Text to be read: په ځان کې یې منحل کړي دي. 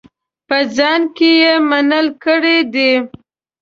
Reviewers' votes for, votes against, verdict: 2, 0, accepted